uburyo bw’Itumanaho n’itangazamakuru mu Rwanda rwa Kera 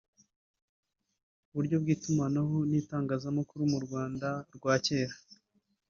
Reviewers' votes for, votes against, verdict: 3, 1, accepted